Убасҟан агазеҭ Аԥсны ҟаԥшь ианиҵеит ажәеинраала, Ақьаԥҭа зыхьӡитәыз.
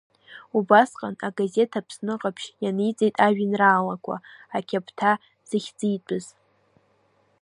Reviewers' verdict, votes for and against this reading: rejected, 0, 2